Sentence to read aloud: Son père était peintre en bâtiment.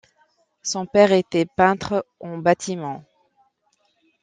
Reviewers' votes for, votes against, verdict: 2, 0, accepted